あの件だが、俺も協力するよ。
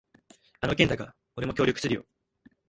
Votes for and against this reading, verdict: 2, 1, accepted